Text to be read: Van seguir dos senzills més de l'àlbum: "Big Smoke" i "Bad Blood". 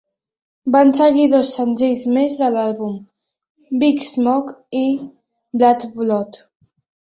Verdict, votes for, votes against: accepted, 2, 0